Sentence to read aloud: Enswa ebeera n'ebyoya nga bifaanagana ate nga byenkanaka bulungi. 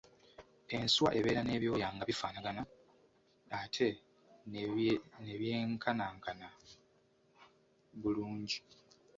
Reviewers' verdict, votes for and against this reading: rejected, 1, 2